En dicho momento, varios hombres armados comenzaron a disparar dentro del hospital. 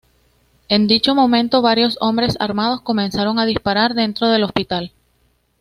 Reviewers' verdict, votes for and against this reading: accepted, 2, 0